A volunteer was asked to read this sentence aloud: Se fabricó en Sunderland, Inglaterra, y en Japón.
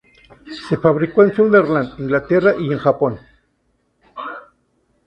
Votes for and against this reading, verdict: 2, 0, accepted